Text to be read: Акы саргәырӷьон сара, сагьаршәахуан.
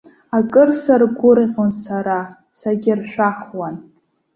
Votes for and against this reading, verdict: 2, 1, accepted